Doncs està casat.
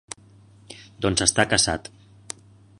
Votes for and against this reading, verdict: 2, 1, accepted